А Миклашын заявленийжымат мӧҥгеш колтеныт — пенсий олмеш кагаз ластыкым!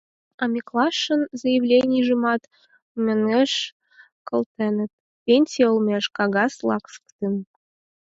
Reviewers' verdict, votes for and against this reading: accepted, 4, 0